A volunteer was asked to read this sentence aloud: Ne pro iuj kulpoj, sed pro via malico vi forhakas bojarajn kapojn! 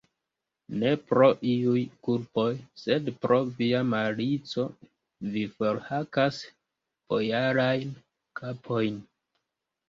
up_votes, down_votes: 1, 2